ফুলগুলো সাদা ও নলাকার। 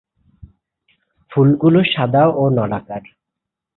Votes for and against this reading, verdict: 3, 0, accepted